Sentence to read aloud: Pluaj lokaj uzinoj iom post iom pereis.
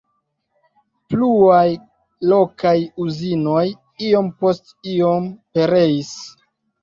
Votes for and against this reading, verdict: 1, 2, rejected